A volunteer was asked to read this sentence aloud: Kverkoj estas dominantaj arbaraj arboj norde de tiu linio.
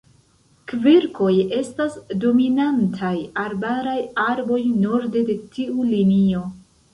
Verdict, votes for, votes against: rejected, 1, 2